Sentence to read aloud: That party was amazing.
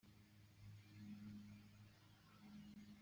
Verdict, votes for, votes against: rejected, 0, 5